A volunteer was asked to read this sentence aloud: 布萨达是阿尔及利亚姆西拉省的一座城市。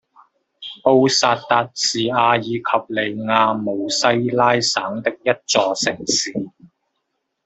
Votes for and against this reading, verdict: 2, 1, accepted